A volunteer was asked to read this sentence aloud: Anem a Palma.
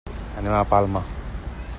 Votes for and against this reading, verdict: 3, 0, accepted